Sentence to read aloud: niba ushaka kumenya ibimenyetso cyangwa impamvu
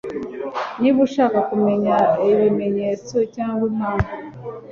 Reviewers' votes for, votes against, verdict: 2, 0, accepted